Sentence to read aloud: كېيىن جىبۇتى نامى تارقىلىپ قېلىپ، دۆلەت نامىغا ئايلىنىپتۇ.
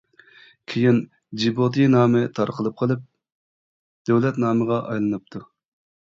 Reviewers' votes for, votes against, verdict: 2, 0, accepted